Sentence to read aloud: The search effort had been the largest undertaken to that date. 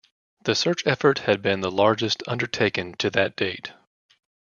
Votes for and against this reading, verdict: 2, 0, accepted